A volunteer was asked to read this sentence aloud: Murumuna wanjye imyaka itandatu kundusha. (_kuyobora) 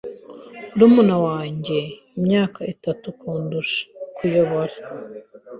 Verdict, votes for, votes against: rejected, 0, 2